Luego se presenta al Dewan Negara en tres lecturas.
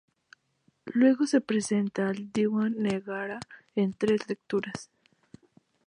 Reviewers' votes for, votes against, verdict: 2, 0, accepted